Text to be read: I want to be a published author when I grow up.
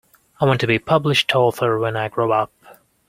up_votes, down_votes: 0, 2